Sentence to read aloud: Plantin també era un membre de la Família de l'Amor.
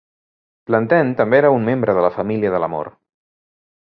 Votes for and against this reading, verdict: 2, 0, accepted